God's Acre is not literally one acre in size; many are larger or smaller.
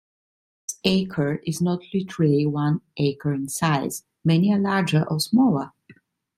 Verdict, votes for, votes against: rejected, 1, 2